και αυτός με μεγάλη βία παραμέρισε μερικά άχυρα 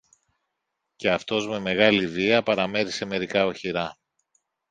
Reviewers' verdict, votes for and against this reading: rejected, 0, 2